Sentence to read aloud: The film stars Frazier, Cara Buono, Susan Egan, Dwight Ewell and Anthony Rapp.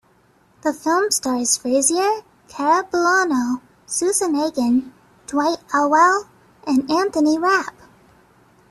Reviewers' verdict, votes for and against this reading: rejected, 0, 2